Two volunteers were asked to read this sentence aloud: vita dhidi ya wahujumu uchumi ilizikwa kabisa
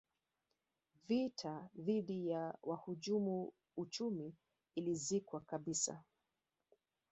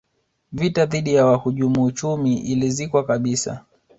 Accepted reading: second